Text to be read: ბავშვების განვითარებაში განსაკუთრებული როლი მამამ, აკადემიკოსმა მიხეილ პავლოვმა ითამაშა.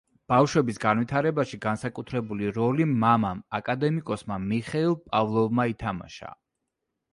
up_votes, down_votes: 2, 0